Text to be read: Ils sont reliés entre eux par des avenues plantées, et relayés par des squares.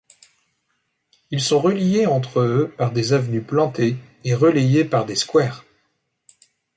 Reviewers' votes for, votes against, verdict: 0, 2, rejected